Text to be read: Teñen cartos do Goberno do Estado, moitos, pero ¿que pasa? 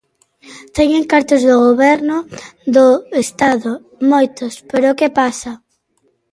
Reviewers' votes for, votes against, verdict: 1, 2, rejected